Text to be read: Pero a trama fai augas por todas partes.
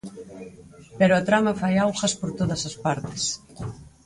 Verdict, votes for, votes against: rejected, 0, 4